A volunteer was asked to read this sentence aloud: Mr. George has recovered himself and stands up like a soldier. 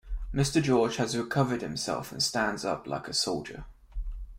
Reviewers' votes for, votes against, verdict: 2, 0, accepted